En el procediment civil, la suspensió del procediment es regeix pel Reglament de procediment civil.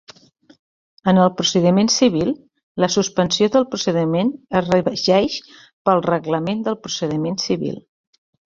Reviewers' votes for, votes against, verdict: 2, 1, accepted